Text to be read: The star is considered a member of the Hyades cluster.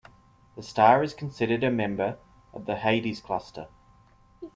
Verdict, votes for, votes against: accepted, 2, 0